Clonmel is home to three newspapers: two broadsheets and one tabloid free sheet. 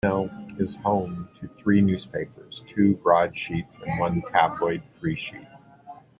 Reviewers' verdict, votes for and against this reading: rejected, 1, 2